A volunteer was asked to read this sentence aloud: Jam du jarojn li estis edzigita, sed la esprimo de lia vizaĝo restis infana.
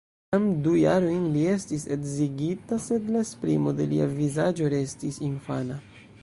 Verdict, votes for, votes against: rejected, 0, 2